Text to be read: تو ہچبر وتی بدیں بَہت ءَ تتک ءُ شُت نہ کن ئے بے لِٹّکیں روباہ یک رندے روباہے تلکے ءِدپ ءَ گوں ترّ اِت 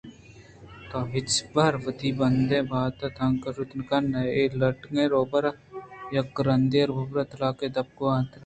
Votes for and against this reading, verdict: 1, 2, rejected